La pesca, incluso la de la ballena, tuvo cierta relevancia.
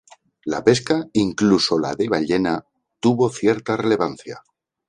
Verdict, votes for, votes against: rejected, 0, 2